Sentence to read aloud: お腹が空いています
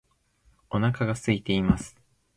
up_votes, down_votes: 2, 0